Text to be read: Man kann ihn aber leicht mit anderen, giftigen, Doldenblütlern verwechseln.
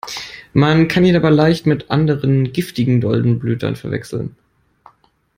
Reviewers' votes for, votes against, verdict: 0, 2, rejected